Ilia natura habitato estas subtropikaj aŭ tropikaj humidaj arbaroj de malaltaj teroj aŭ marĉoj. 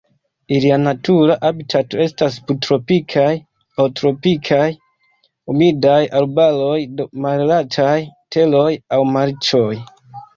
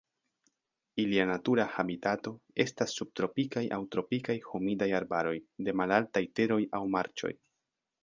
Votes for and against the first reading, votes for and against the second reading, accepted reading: 0, 2, 2, 0, second